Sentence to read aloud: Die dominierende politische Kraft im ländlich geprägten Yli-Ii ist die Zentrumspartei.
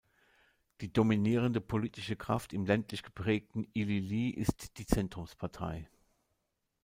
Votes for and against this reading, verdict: 2, 0, accepted